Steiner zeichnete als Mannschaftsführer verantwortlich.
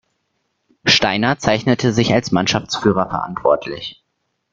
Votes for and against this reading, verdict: 1, 2, rejected